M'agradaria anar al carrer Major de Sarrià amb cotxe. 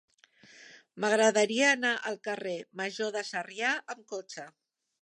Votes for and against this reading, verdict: 4, 0, accepted